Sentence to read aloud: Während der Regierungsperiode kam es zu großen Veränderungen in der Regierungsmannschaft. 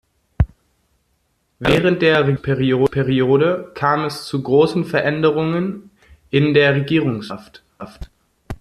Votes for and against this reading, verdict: 0, 2, rejected